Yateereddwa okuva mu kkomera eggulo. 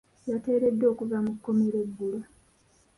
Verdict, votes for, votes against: accepted, 2, 0